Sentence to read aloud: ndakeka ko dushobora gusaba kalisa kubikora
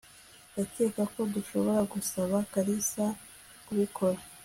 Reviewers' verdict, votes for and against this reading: accepted, 2, 0